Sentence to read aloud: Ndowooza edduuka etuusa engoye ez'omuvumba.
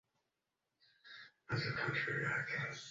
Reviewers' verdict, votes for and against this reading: rejected, 0, 2